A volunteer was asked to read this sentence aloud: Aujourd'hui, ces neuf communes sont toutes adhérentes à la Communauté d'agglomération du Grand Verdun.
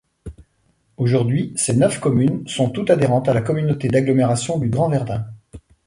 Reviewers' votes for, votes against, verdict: 2, 0, accepted